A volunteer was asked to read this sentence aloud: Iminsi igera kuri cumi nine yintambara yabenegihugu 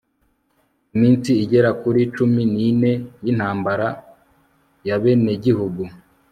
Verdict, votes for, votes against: accepted, 2, 0